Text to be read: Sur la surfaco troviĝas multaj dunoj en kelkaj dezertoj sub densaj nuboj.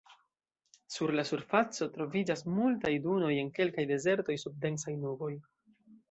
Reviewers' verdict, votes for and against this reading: rejected, 1, 2